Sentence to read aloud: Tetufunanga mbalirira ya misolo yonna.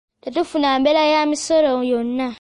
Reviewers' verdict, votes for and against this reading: rejected, 1, 2